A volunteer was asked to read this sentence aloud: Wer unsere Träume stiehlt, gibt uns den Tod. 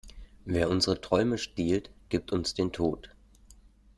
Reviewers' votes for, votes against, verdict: 2, 0, accepted